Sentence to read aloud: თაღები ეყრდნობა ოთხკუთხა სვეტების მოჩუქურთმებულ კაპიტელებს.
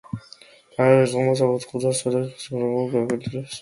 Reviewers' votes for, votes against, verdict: 0, 2, rejected